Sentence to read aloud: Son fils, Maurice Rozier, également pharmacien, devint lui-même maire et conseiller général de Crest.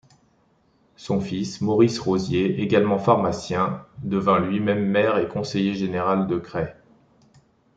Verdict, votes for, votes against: rejected, 1, 2